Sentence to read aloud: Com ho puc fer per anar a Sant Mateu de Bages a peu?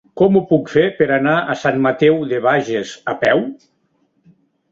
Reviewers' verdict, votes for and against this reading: accepted, 4, 1